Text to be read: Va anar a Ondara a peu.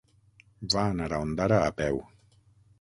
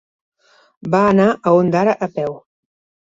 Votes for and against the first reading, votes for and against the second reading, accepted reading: 3, 6, 3, 0, second